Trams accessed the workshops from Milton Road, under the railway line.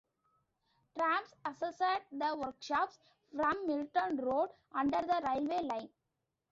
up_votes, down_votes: 2, 1